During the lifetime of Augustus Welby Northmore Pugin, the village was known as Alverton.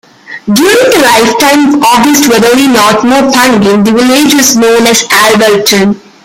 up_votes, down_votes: 0, 2